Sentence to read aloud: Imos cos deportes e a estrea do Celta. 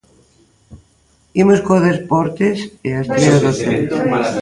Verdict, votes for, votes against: rejected, 0, 2